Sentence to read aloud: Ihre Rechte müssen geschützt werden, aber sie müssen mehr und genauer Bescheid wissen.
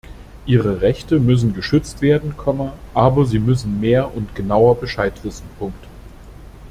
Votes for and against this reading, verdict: 0, 2, rejected